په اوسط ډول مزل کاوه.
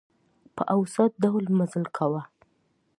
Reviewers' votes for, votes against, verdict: 2, 0, accepted